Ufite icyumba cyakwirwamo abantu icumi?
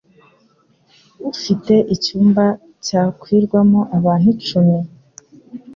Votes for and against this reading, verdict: 2, 0, accepted